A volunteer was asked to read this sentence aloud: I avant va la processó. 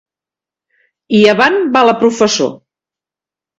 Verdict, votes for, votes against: rejected, 1, 2